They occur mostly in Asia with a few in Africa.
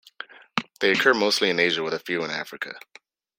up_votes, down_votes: 2, 0